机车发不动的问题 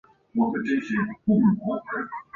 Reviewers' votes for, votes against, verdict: 2, 3, rejected